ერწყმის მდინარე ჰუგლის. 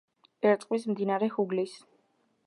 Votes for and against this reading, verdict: 2, 0, accepted